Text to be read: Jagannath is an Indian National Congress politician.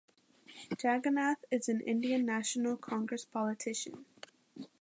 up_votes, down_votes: 2, 0